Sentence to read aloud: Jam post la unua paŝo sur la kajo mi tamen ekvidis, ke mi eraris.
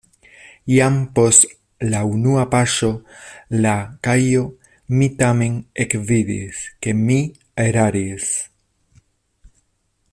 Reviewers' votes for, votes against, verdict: 1, 2, rejected